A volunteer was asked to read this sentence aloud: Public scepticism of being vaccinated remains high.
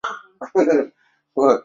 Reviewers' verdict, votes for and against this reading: rejected, 0, 2